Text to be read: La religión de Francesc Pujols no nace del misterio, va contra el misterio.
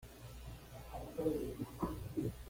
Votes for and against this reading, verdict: 1, 2, rejected